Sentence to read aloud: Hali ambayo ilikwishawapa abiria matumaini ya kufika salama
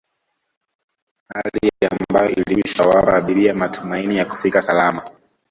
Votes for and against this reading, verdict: 0, 2, rejected